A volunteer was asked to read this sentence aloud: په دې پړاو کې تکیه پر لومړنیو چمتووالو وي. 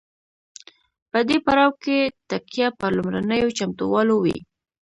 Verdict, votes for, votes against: accepted, 2, 1